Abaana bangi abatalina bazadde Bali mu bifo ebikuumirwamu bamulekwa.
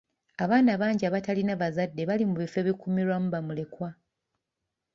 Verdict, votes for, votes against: accepted, 2, 1